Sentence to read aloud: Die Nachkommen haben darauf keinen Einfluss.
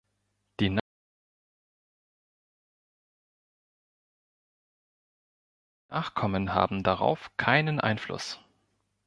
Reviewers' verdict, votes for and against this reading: rejected, 1, 3